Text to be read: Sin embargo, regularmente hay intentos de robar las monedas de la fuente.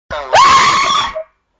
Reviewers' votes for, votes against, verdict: 0, 2, rejected